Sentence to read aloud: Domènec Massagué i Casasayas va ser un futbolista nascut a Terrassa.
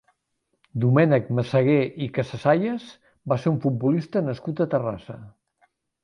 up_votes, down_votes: 2, 0